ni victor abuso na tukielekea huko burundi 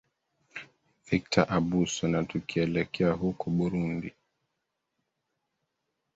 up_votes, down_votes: 0, 2